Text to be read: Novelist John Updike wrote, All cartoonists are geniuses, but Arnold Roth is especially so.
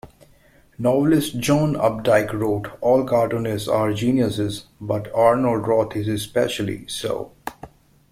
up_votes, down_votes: 2, 0